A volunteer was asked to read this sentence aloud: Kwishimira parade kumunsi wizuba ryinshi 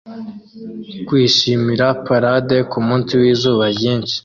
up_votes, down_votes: 2, 0